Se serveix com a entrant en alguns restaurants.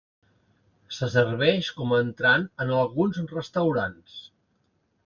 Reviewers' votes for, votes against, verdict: 2, 0, accepted